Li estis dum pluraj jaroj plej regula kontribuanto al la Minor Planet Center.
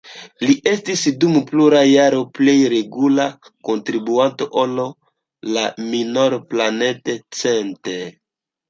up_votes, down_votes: 0, 2